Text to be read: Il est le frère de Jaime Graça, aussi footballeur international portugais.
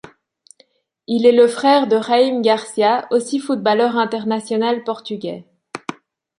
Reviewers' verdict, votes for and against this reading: accepted, 2, 0